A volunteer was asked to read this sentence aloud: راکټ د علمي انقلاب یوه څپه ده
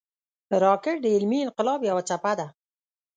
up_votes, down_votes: 1, 2